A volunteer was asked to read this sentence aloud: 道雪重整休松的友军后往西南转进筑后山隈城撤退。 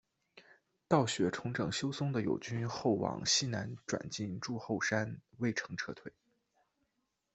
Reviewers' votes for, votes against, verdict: 3, 0, accepted